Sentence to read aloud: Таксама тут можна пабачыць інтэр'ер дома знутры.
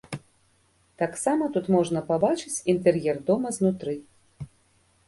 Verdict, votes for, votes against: accepted, 2, 0